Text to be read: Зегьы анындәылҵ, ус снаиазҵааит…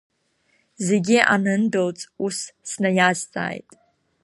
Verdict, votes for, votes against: accepted, 3, 0